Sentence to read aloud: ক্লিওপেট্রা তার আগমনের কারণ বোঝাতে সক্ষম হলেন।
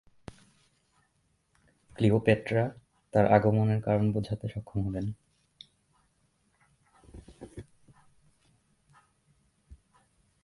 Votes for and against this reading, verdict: 2, 2, rejected